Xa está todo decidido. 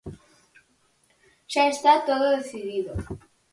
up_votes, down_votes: 4, 0